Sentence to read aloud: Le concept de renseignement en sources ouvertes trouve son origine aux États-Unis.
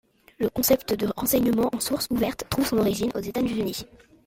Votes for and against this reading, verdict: 2, 0, accepted